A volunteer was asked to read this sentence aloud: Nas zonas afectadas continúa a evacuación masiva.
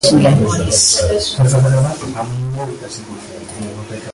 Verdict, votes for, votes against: rejected, 0, 2